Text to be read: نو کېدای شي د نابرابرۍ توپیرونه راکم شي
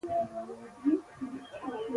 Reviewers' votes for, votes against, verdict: 1, 2, rejected